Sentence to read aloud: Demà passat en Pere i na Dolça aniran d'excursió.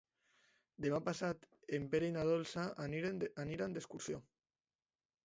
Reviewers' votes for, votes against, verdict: 1, 2, rejected